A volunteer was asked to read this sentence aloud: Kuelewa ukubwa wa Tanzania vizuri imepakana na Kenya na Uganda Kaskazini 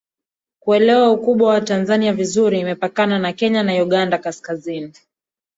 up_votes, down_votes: 2, 1